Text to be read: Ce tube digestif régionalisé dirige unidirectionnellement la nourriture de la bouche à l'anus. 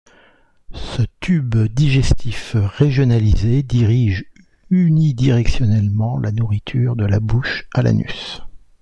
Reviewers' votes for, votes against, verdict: 2, 0, accepted